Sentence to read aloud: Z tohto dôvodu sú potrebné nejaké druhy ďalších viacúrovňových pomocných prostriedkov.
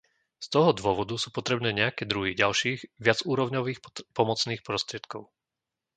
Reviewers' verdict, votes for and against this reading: rejected, 0, 2